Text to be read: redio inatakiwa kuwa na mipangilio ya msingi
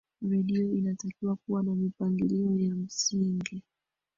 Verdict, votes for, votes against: rejected, 0, 2